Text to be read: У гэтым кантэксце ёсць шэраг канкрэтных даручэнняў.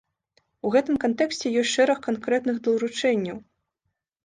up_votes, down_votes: 0, 2